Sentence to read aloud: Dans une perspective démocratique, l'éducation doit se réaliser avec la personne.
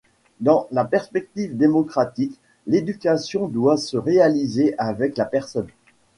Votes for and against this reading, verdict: 1, 2, rejected